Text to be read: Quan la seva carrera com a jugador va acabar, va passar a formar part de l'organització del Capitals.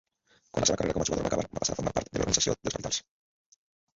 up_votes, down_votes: 0, 2